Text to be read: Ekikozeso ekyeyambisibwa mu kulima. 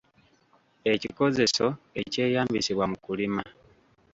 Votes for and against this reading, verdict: 2, 0, accepted